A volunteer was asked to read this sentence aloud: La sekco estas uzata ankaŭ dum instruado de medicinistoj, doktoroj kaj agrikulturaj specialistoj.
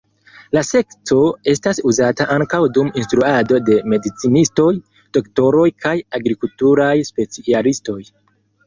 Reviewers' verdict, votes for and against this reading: rejected, 0, 2